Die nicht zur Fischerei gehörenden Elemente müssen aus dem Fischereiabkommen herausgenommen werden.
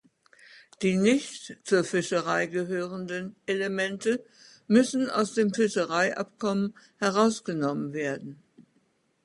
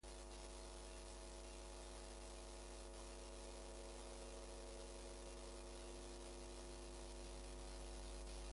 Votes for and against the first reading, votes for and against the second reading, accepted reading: 2, 0, 0, 4, first